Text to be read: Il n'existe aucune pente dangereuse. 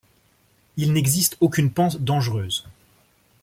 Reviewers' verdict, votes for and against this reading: accepted, 2, 0